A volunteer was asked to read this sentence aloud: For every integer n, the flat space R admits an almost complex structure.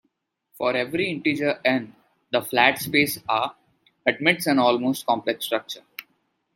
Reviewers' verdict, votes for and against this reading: accepted, 2, 0